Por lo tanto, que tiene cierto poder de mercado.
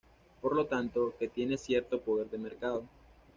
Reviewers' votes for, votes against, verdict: 2, 0, accepted